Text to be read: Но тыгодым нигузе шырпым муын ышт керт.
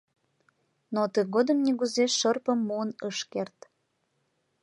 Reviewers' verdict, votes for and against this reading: rejected, 1, 2